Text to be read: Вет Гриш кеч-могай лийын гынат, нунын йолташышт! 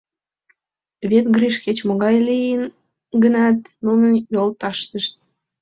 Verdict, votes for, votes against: rejected, 1, 2